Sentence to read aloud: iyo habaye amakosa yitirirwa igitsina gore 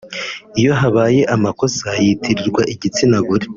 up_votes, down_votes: 2, 0